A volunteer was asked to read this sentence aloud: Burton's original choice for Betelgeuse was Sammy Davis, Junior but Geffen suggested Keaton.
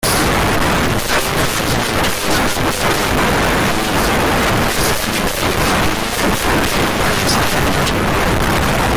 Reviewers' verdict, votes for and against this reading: rejected, 0, 2